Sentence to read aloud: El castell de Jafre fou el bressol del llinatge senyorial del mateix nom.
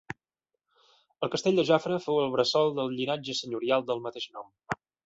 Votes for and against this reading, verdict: 2, 0, accepted